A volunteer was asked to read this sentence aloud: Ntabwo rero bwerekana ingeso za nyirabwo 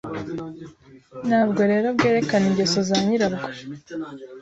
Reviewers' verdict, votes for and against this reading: accepted, 2, 1